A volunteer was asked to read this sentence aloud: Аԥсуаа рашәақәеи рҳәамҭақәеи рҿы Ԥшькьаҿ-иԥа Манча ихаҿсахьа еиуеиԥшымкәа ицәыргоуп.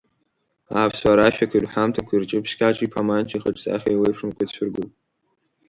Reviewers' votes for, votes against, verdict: 2, 1, accepted